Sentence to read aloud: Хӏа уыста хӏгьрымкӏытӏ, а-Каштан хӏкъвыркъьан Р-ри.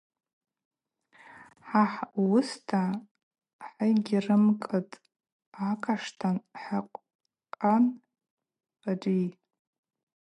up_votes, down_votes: 2, 2